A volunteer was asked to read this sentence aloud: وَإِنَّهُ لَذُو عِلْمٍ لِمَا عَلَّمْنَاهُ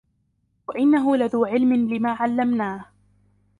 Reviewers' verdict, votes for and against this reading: accepted, 4, 0